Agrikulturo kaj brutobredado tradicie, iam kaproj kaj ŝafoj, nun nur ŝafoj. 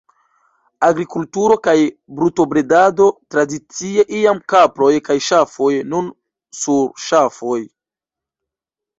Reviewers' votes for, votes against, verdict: 0, 2, rejected